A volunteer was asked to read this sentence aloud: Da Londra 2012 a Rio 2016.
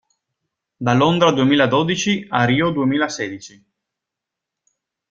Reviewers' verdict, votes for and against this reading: rejected, 0, 2